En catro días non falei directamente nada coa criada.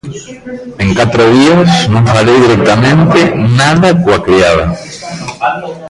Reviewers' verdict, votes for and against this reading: rejected, 1, 2